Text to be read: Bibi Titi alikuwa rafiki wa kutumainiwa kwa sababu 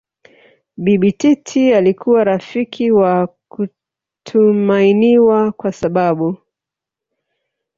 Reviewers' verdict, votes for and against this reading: rejected, 2, 3